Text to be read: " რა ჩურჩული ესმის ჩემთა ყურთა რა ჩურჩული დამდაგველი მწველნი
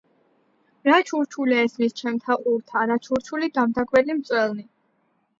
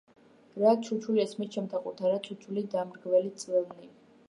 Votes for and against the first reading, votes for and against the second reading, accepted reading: 2, 0, 1, 2, first